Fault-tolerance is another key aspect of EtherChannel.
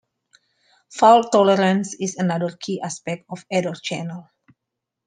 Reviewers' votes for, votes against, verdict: 1, 2, rejected